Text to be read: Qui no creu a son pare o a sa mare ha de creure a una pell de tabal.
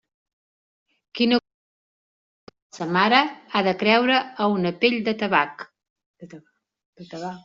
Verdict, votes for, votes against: rejected, 0, 2